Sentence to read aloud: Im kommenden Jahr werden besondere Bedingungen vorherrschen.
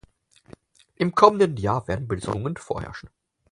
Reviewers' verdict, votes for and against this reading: rejected, 0, 4